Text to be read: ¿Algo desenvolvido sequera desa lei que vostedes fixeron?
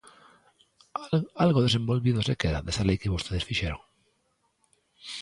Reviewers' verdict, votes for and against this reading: rejected, 0, 2